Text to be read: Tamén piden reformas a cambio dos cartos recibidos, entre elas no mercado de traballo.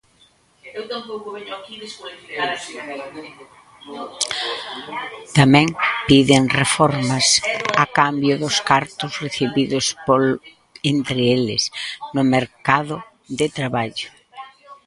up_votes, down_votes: 0, 2